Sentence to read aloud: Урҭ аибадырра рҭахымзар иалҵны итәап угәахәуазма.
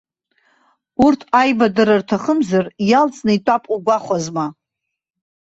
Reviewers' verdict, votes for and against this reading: rejected, 1, 2